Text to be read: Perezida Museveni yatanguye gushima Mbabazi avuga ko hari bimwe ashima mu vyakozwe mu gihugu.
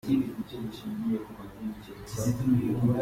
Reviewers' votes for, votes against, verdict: 0, 2, rejected